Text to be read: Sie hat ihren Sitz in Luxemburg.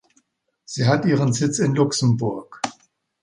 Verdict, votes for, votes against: accepted, 2, 0